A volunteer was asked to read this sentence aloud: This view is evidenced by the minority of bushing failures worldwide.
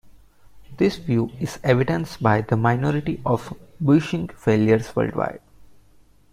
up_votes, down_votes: 1, 2